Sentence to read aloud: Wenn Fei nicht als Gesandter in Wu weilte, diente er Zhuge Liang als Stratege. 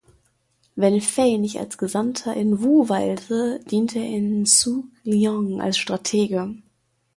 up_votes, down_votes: 1, 2